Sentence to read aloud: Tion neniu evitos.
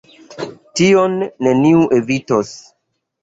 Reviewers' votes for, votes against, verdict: 3, 0, accepted